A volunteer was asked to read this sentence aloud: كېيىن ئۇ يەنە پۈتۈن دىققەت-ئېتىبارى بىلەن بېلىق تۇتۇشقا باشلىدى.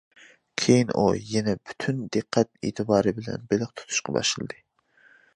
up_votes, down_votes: 2, 0